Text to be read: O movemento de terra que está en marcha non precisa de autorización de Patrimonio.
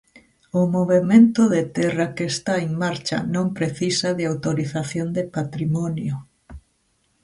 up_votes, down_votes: 2, 0